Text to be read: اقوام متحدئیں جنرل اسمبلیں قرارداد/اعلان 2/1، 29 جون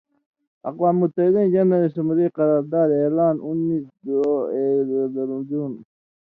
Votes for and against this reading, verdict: 0, 2, rejected